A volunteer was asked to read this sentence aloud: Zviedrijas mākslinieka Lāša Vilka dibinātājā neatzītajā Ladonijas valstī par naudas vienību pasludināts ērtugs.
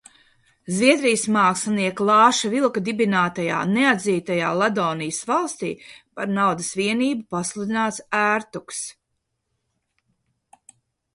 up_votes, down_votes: 2, 0